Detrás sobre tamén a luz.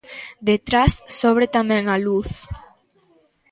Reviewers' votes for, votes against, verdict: 2, 1, accepted